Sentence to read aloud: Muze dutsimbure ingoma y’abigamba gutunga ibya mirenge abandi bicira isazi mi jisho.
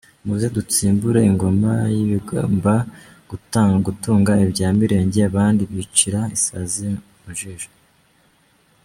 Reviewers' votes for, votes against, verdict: 1, 2, rejected